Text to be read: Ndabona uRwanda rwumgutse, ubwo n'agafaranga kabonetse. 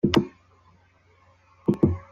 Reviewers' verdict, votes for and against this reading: rejected, 0, 2